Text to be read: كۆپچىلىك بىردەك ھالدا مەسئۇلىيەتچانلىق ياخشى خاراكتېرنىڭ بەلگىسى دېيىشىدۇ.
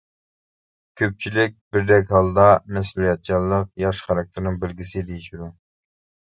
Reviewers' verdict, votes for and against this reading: accepted, 2, 1